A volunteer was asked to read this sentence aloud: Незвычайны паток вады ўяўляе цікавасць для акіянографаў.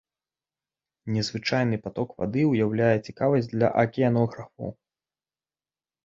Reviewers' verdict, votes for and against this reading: accepted, 2, 0